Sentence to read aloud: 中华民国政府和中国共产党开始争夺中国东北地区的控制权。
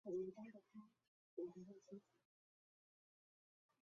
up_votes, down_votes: 0, 2